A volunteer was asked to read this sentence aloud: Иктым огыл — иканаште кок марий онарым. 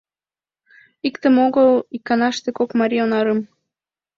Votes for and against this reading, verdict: 2, 0, accepted